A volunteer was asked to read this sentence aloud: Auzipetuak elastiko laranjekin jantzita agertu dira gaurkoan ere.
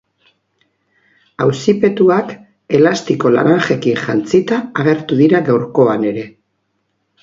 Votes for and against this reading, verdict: 2, 0, accepted